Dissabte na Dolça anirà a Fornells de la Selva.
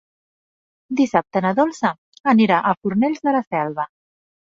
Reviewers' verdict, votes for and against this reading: accepted, 3, 0